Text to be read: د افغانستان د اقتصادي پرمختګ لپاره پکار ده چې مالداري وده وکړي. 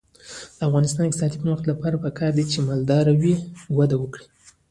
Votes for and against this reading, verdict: 2, 1, accepted